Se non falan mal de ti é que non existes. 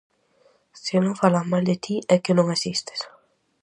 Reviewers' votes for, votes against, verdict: 4, 0, accepted